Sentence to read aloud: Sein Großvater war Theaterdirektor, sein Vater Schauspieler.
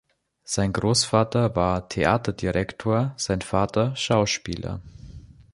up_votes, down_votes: 2, 0